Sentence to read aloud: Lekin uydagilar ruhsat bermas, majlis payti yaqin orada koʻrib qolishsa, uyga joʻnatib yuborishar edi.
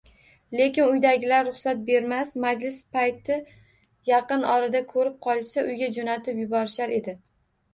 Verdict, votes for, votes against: rejected, 1, 2